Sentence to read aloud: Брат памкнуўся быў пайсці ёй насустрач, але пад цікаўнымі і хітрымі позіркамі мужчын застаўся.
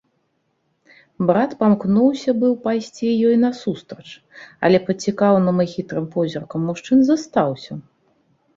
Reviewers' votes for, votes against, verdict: 0, 2, rejected